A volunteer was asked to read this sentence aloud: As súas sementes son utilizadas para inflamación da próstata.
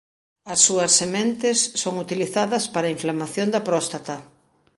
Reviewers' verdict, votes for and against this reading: accepted, 2, 0